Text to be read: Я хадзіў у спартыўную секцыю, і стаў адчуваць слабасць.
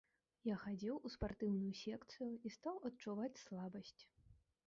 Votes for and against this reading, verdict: 2, 0, accepted